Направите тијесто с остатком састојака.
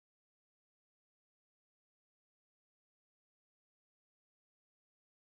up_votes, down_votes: 0, 2